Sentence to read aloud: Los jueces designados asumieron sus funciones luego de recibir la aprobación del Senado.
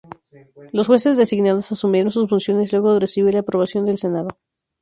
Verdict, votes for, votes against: rejected, 0, 2